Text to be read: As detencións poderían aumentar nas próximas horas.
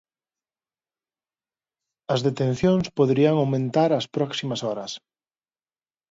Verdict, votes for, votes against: rejected, 0, 2